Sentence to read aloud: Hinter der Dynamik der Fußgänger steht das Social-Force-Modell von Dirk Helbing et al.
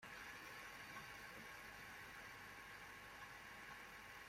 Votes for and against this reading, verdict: 0, 2, rejected